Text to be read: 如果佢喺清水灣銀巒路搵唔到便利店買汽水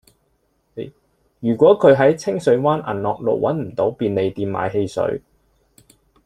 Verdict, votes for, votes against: rejected, 1, 2